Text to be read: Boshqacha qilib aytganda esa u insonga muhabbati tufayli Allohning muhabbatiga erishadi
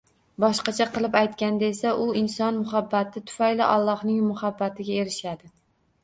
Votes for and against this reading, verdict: 0, 2, rejected